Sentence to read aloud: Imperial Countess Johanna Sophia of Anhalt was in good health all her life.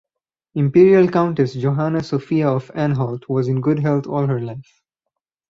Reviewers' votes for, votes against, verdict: 4, 0, accepted